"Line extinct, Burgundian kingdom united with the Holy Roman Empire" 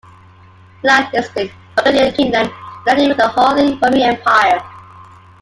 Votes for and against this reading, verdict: 2, 1, accepted